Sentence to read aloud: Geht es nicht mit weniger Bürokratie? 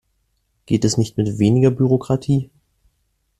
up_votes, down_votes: 2, 0